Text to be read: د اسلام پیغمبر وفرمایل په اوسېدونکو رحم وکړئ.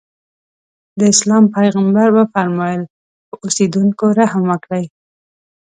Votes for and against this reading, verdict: 6, 0, accepted